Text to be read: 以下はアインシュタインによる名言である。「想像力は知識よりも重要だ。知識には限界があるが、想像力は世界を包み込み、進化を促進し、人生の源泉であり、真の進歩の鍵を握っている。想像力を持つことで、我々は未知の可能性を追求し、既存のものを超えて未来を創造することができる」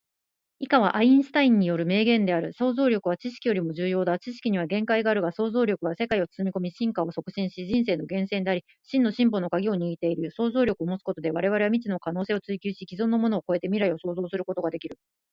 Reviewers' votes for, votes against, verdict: 2, 1, accepted